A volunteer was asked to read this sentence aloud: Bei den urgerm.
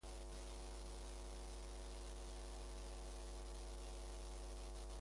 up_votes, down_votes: 0, 2